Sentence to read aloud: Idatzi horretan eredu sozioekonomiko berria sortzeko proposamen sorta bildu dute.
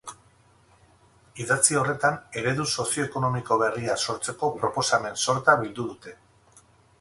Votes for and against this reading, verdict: 4, 0, accepted